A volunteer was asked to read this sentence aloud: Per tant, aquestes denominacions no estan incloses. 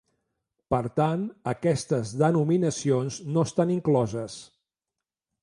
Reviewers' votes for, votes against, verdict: 2, 0, accepted